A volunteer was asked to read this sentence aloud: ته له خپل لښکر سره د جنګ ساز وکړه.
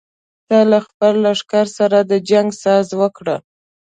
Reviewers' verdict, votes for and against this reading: accepted, 2, 0